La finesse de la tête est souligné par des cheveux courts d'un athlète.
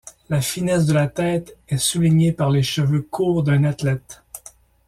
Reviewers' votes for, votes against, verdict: 1, 2, rejected